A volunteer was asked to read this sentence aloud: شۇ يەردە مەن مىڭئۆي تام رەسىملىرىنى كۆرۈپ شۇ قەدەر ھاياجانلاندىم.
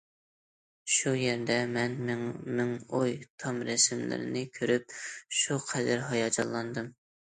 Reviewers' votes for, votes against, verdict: 0, 2, rejected